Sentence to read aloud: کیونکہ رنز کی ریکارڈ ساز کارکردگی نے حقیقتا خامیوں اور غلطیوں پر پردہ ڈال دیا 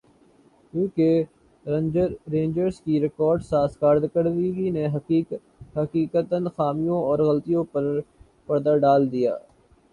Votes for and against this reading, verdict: 1, 2, rejected